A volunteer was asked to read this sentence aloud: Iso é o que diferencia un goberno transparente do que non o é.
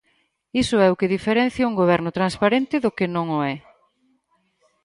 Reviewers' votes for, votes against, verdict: 4, 0, accepted